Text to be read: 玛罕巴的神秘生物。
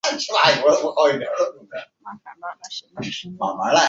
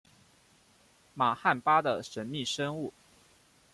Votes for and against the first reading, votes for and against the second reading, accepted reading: 2, 2, 2, 0, second